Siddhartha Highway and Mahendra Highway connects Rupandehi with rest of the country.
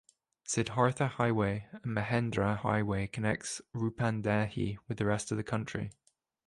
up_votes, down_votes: 0, 2